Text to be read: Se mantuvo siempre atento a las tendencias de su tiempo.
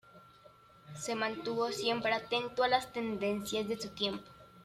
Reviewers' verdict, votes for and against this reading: accepted, 2, 0